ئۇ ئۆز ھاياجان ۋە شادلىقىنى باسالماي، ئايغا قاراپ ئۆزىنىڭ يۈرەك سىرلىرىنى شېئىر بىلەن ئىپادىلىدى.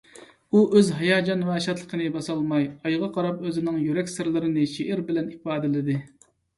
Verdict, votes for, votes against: accepted, 2, 0